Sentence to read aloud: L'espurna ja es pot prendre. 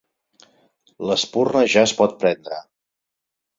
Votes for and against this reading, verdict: 4, 0, accepted